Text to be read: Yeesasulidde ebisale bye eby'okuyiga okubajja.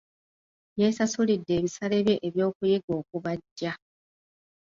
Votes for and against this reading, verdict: 2, 0, accepted